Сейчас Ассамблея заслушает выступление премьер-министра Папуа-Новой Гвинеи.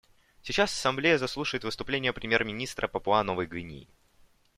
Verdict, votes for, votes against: accepted, 2, 0